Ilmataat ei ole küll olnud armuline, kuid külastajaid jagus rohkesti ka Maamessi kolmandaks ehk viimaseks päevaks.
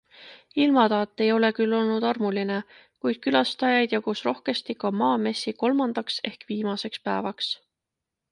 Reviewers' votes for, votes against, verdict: 2, 0, accepted